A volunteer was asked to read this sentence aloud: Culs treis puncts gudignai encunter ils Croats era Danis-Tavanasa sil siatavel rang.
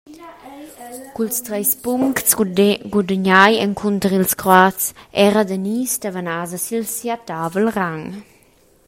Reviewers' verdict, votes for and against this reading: rejected, 0, 2